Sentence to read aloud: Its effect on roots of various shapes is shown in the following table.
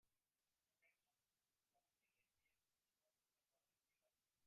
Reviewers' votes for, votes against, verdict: 0, 2, rejected